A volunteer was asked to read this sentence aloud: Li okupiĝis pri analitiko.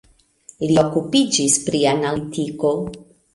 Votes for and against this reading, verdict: 2, 1, accepted